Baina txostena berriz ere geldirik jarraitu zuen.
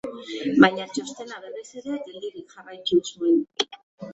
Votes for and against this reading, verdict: 2, 1, accepted